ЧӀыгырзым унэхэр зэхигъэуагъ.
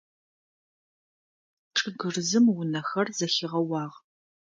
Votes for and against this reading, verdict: 2, 0, accepted